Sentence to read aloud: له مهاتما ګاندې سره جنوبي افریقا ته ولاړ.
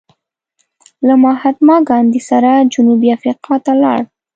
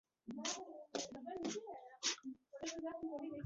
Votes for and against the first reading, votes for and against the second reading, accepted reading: 2, 0, 1, 2, first